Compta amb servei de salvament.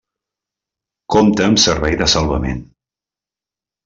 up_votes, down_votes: 2, 0